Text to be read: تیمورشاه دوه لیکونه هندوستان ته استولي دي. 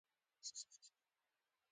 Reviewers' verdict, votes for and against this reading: rejected, 0, 2